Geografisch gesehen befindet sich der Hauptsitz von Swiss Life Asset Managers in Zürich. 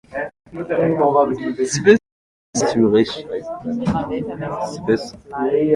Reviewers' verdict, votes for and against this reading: rejected, 0, 2